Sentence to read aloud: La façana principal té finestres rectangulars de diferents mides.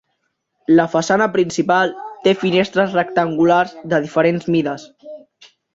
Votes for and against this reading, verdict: 1, 2, rejected